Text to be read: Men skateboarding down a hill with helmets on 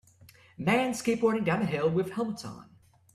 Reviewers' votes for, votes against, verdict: 2, 0, accepted